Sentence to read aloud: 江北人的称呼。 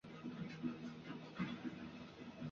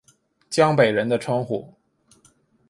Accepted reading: second